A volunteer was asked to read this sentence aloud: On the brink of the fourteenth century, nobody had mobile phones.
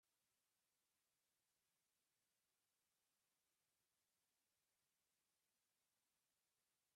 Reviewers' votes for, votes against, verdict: 0, 2, rejected